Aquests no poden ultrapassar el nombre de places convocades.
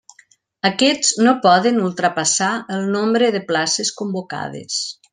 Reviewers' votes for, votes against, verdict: 3, 0, accepted